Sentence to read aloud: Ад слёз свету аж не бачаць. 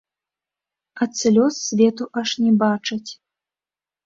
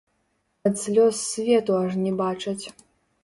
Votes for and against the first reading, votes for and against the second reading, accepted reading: 2, 0, 1, 2, first